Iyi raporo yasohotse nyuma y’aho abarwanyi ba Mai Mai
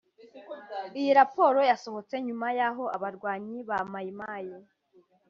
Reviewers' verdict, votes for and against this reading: accepted, 2, 0